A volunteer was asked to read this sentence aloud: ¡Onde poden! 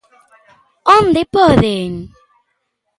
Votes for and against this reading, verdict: 2, 0, accepted